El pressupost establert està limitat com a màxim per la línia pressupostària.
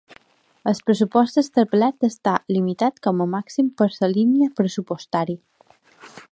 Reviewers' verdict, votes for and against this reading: rejected, 1, 2